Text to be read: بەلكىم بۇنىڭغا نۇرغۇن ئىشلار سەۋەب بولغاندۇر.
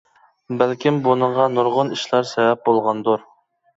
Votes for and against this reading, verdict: 2, 0, accepted